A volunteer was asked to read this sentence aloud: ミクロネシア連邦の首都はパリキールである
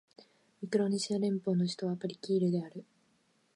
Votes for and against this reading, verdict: 3, 0, accepted